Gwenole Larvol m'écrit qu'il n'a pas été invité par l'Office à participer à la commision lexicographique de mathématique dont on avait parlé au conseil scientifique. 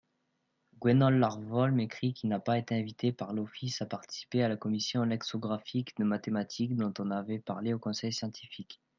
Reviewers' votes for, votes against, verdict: 1, 2, rejected